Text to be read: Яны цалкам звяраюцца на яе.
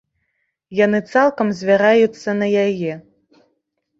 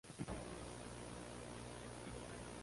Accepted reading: first